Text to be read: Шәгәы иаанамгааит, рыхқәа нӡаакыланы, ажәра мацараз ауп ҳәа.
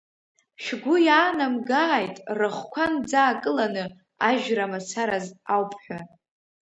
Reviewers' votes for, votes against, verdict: 2, 0, accepted